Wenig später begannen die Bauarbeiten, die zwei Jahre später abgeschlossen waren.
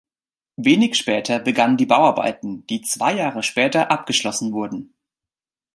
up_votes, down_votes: 0, 2